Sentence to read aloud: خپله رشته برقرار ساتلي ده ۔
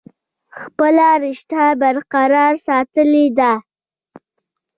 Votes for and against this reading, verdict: 0, 2, rejected